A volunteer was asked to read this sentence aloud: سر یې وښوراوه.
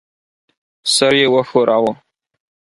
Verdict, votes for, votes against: accepted, 4, 0